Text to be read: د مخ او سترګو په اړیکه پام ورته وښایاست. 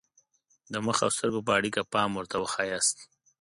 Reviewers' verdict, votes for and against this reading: accepted, 2, 0